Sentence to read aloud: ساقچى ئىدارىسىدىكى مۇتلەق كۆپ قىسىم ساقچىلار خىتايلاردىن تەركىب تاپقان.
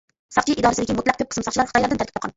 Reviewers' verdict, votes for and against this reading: rejected, 1, 2